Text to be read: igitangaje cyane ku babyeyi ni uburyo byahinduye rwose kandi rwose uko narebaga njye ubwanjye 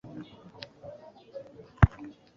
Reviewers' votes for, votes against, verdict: 0, 2, rejected